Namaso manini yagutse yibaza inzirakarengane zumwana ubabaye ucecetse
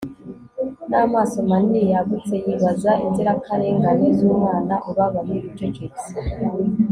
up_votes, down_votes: 2, 1